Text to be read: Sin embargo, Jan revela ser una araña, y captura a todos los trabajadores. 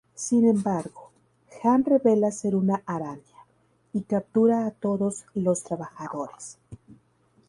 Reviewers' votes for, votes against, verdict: 0, 2, rejected